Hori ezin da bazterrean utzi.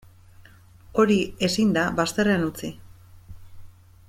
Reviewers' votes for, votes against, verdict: 2, 0, accepted